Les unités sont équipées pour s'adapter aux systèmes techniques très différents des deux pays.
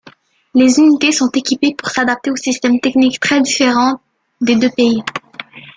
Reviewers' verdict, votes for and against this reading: rejected, 1, 2